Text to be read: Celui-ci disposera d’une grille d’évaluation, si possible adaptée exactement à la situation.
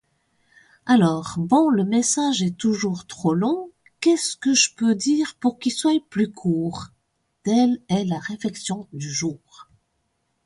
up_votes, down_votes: 0, 2